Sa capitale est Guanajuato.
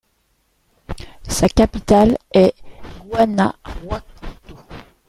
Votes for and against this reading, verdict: 1, 2, rejected